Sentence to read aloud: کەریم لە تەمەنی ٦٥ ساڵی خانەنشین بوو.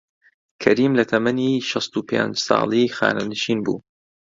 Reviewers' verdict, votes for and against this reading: rejected, 0, 2